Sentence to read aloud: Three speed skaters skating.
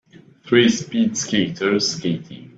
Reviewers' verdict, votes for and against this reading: rejected, 1, 2